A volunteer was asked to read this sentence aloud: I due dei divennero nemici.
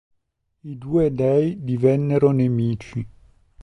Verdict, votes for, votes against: accepted, 4, 0